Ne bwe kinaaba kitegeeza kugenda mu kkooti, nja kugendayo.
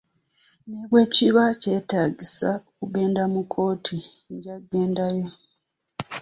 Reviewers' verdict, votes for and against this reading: accepted, 2, 1